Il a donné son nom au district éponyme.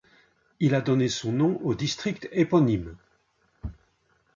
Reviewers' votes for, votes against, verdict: 2, 0, accepted